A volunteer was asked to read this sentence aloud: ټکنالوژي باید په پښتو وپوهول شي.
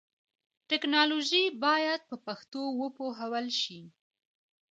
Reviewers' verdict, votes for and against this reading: rejected, 1, 2